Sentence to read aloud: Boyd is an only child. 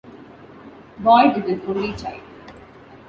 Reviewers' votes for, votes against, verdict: 2, 0, accepted